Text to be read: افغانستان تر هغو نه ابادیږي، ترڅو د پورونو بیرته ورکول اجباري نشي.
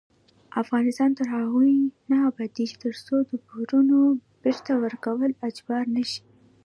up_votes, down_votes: 0, 2